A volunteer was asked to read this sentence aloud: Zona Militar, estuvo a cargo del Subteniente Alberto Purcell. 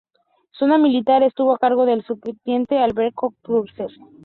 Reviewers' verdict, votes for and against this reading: accepted, 2, 0